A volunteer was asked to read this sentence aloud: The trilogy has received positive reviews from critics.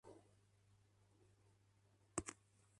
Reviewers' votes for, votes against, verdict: 0, 2, rejected